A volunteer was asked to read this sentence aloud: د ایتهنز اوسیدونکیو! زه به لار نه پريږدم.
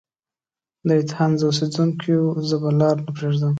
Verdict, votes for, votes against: accepted, 2, 0